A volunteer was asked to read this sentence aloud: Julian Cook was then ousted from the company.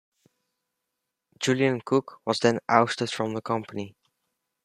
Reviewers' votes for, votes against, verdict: 0, 2, rejected